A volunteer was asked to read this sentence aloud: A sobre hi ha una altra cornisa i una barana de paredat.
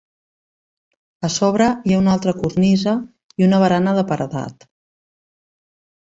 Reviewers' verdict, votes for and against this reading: rejected, 1, 2